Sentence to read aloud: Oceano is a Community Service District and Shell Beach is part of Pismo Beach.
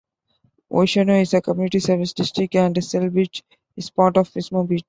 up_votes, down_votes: 1, 2